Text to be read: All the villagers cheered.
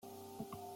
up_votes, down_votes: 0, 2